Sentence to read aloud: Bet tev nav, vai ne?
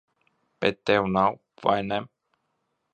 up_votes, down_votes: 2, 0